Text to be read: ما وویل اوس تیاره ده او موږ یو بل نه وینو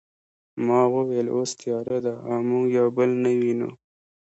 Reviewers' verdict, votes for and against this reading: rejected, 1, 2